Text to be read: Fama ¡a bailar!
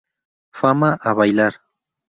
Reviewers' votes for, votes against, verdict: 2, 0, accepted